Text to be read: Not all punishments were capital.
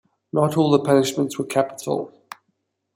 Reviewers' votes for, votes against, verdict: 1, 2, rejected